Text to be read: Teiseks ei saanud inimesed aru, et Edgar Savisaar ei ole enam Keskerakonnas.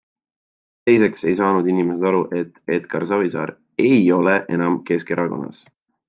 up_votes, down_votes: 2, 0